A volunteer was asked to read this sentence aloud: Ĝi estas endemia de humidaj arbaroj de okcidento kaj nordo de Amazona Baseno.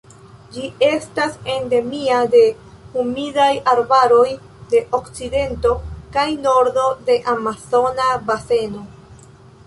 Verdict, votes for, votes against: accepted, 2, 0